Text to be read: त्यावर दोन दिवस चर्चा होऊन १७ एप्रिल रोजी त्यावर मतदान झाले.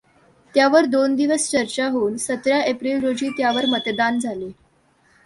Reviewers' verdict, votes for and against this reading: rejected, 0, 2